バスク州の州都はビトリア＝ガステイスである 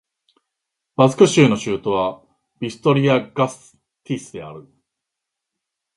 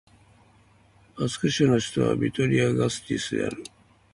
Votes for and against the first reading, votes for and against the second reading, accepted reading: 2, 0, 0, 2, first